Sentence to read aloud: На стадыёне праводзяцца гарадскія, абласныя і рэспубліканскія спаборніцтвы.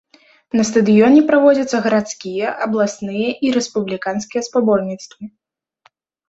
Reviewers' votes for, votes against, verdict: 2, 0, accepted